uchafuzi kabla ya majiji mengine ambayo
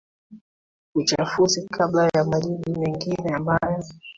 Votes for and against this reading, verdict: 1, 2, rejected